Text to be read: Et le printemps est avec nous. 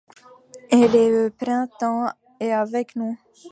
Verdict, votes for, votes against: rejected, 1, 2